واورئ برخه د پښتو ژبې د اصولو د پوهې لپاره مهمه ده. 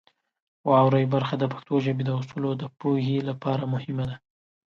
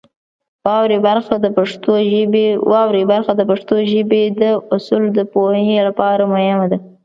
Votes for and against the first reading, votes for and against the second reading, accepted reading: 2, 0, 1, 2, first